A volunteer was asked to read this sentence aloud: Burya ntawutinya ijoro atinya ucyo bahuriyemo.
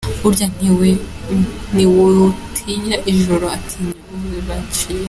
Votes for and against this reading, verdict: 0, 3, rejected